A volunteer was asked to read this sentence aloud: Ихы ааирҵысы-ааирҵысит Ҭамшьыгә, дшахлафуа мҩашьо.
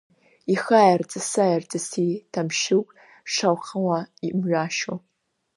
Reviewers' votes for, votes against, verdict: 1, 2, rejected